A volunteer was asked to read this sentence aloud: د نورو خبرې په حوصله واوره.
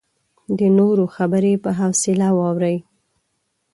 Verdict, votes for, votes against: rejected, 1, 2